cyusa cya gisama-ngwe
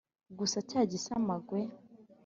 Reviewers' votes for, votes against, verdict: 3, 0, accepted